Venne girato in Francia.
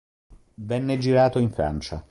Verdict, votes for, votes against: accepted, 2, 0